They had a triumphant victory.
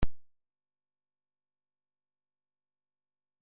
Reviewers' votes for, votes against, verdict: 0, 2, rejected